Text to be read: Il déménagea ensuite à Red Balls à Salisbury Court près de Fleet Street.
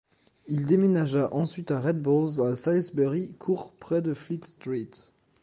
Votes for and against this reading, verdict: 2, 0, accepted